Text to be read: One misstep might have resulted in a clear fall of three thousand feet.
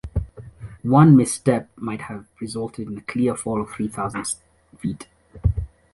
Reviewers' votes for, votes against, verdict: 2, 0, accepted